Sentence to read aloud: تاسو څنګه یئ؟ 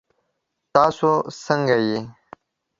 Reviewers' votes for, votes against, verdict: 2, 0, accepted